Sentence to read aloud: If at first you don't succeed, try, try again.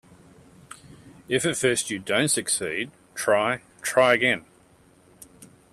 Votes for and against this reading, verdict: 2, 0, accepted